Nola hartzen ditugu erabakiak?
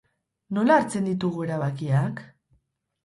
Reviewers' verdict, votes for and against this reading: accepted, 4, 0